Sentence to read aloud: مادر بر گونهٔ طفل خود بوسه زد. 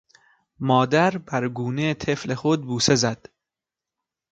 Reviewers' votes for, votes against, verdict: 2, 0, accepted